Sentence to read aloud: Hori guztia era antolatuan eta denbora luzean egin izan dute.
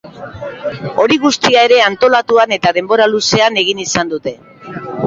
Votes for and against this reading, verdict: 1, 2, rejected